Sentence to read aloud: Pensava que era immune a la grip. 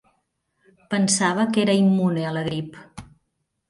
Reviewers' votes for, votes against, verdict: 1, 2, rejected